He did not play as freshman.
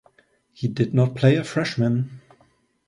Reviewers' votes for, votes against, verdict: 0, 2, rejected